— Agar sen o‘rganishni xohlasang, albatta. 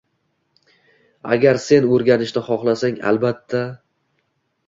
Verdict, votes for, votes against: accepted, 2, 0